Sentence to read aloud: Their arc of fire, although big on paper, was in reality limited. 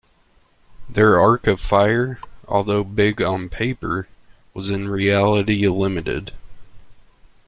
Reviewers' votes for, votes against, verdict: 1, 2, rejected